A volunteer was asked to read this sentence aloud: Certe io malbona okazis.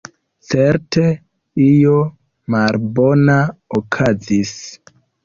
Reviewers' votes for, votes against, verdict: 1, 2, rejected